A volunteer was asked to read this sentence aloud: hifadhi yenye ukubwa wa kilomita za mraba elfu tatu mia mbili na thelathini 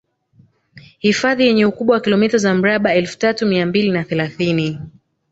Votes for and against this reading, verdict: 6, 0, accepted